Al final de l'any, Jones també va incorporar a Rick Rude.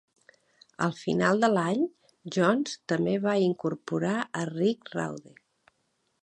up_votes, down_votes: 0, 2